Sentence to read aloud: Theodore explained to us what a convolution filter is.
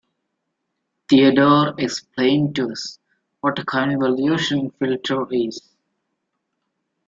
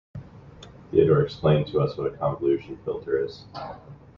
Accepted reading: first